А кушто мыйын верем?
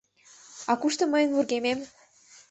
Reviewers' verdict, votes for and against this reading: rejected, 0, 2